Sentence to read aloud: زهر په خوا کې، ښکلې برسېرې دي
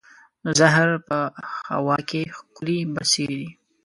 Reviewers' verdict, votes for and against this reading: rejected, 1, 2